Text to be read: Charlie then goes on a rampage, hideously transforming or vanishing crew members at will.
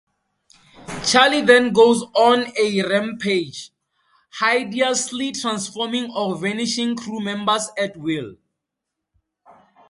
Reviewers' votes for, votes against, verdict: 4, 0, accepted